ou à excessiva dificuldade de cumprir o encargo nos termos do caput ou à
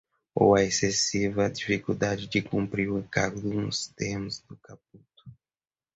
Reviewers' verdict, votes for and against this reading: rejected, 0, 2